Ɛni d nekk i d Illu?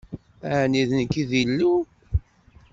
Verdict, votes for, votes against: accepted, 2, 0